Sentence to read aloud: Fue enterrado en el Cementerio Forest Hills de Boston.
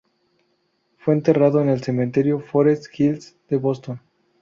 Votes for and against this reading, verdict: 2, 0, accepted